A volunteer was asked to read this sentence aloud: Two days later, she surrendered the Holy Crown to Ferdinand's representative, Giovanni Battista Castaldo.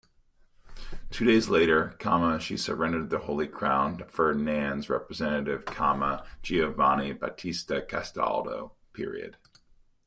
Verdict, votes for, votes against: rejected, 0, 2